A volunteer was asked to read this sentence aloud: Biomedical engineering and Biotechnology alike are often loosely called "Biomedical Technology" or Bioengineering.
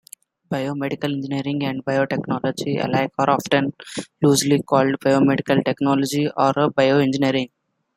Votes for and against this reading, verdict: 2, 1, accepted